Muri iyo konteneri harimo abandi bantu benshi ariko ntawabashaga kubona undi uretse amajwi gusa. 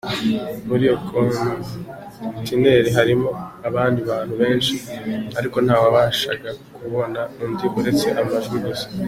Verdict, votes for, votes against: accepted, 2, 1